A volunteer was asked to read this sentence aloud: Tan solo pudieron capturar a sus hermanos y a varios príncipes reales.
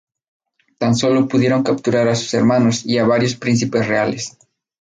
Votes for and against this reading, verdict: 2, 0, accepted